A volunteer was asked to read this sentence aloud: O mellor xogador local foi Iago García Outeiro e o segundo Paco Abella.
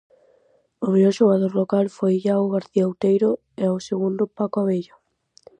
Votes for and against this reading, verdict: 4, 0, accepted